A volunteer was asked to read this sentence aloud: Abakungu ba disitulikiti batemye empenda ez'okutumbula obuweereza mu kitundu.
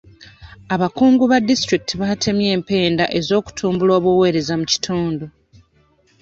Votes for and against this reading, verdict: 1, 2, rejected